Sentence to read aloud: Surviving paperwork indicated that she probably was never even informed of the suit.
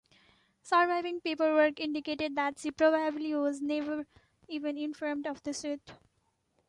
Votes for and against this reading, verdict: 3, 1, accepted